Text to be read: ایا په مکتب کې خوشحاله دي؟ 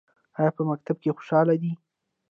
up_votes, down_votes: 1, 2